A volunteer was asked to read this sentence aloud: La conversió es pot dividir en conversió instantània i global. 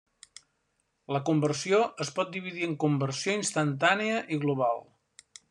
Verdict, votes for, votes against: accepted, 3, 0